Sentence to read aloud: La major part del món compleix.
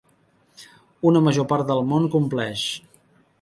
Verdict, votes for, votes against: rejected, 1, 2